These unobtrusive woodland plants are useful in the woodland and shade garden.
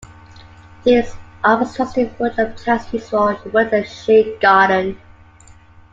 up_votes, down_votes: 0, 2